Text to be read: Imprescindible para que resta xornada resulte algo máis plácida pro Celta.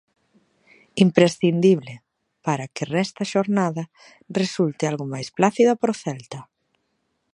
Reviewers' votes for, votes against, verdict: 1, 2, rejected